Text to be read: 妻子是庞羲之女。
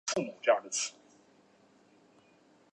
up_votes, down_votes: 2, 3